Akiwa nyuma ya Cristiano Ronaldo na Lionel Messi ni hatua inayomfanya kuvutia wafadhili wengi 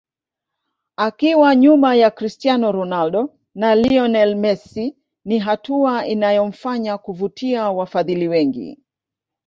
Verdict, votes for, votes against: rejected, 0, 2